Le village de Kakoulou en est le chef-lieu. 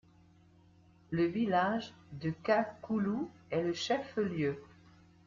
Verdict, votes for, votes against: rejected, 1, 2